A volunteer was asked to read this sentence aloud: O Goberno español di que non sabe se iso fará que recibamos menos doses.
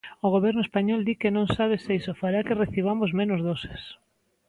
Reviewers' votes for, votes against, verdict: 2, 0, accepted